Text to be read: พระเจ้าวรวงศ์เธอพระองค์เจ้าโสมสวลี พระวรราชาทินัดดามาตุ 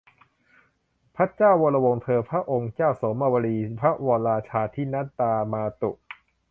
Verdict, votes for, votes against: rejected, 0, 2